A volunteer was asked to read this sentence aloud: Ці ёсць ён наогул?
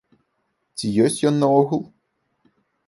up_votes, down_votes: 2, 0